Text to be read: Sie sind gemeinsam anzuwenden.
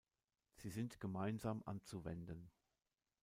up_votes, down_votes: 1, 2